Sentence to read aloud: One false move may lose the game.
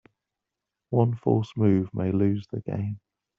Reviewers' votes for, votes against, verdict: 2, 0, accepted